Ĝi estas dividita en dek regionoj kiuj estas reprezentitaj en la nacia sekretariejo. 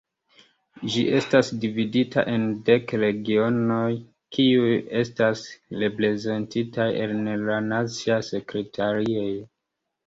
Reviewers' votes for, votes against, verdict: 1, 2, rejected